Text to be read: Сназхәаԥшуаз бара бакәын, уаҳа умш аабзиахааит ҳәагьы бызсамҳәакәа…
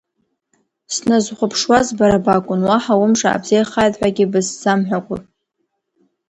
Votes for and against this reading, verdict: 2, 1, accepted